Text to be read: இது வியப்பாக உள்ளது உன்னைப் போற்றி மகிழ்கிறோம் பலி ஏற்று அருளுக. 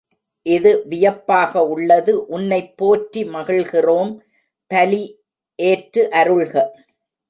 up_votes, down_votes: 0, 2